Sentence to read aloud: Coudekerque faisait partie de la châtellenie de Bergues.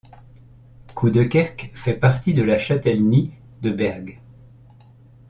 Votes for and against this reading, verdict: 1, 2, rejected